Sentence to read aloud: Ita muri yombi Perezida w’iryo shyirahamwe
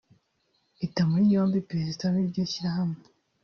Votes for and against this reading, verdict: 0, 2, rejected